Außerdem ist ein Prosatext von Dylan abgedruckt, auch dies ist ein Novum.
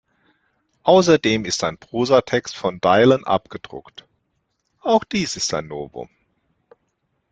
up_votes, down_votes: 2, 1